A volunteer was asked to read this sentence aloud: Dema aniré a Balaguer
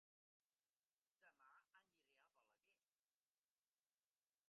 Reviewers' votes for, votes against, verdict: 1, 2, rejected